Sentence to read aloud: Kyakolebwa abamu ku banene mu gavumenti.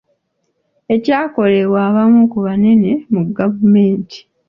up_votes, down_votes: 1, 2